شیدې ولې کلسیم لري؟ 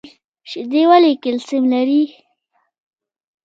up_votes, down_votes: 2, 0